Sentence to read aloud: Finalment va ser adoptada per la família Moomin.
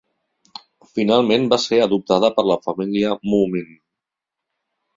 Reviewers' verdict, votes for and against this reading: accepted, 3, 0